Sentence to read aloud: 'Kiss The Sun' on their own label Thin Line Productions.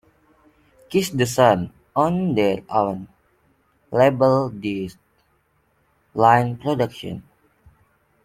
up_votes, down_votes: 1, 2